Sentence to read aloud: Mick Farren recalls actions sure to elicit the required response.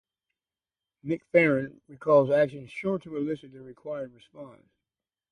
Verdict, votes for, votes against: rejected, 2, 2